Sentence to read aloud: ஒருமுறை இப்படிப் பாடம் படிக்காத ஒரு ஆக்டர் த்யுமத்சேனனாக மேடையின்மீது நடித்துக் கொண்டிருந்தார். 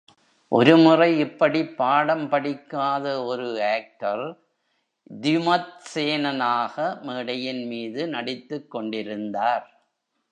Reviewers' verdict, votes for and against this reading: rejected, 1, 2